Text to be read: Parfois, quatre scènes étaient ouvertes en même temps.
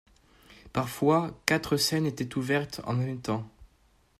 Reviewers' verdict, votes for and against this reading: accepted, 2, 0